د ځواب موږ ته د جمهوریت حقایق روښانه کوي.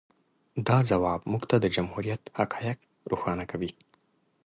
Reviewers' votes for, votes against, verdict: 2, 0, accepted